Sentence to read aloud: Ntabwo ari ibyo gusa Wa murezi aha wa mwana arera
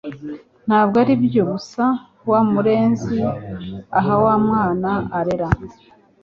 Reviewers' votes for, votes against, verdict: 2, 0, accepted